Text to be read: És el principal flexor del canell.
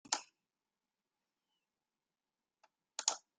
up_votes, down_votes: 0, 2